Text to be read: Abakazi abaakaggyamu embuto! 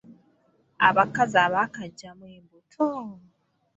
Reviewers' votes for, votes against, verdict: 1, 2, rejected